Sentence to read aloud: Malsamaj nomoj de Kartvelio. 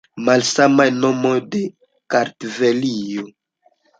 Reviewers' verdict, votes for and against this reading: accepted, 2, 0